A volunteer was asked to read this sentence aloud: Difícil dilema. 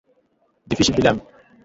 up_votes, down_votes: 1, 2